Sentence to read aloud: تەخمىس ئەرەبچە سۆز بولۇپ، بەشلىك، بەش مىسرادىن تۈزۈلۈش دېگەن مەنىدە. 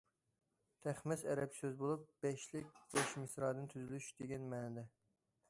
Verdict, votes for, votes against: rejected, 0, 2